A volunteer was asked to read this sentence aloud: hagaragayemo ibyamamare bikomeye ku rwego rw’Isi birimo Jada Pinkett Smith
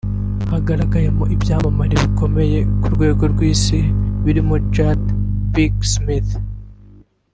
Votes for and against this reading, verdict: 1, 2, rejected